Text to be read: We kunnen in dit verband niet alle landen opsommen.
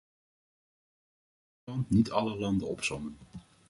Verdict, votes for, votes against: rejected, 0, 2